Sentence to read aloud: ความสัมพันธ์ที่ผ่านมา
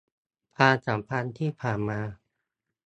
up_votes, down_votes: 2, 0